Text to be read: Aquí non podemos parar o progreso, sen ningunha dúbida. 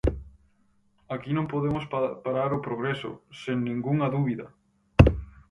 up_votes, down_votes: 2, 4